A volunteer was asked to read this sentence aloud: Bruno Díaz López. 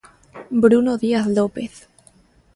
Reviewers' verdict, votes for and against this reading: accepted, 2, 0